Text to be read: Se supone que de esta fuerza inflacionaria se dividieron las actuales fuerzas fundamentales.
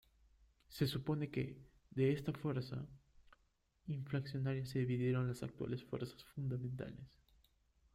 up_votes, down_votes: 1, 2